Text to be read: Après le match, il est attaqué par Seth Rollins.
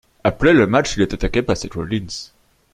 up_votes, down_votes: 1, 2